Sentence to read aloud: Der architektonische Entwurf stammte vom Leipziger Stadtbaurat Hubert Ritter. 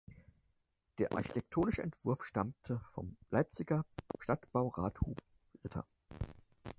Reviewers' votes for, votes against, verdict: 0, 4, rejected